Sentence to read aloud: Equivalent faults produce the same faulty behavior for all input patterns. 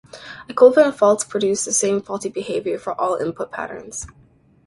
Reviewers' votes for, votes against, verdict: 2, 0, accepted